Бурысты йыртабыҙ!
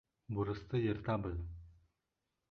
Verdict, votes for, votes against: accepted, 2, 0